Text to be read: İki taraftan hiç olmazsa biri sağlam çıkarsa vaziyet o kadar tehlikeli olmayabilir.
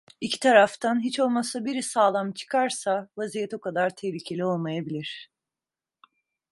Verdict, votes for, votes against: accepted, 2, 0